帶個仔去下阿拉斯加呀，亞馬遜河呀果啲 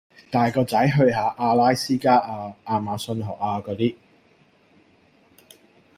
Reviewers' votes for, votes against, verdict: 2, 0, accepted